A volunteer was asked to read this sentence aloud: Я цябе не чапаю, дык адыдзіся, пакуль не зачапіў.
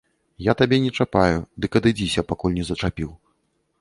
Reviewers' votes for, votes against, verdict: 0, 2, rejected